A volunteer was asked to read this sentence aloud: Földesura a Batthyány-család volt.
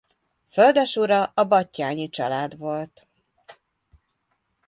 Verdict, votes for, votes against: accepted, 2, 0